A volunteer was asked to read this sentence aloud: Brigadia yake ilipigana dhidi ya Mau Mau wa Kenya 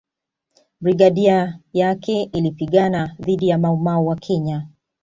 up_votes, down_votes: 2, 0